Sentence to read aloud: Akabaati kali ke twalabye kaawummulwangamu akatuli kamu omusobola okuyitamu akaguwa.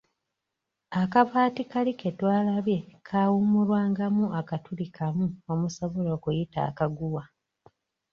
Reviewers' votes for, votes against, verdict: 1, 2, rejected